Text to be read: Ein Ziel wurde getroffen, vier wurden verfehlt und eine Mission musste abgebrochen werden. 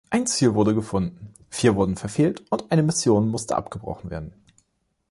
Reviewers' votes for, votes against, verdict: 0, 2, rejected